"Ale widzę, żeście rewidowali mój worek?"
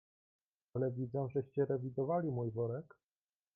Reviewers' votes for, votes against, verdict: 1, 2, rejected